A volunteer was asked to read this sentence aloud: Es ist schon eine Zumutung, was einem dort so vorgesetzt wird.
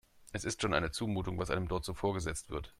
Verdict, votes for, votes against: accepted, 3, 0